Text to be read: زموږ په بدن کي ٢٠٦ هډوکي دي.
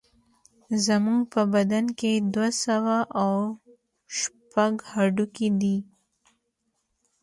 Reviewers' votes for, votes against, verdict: 0, 2, rejected